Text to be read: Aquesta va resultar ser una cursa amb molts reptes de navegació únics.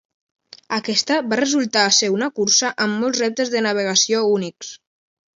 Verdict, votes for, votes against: accepted, 2, 0